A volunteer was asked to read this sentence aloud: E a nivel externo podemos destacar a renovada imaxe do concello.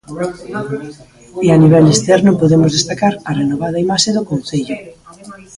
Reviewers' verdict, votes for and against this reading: rejected, 1, 2